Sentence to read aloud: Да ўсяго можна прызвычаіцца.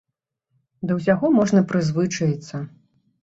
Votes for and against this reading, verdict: 0, 2, rejected